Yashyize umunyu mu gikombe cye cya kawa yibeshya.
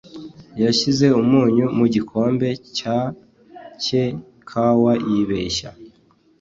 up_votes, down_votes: 0, 2